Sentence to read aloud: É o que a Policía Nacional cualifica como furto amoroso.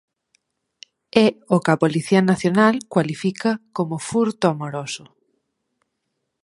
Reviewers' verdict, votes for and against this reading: accepted, 4, 0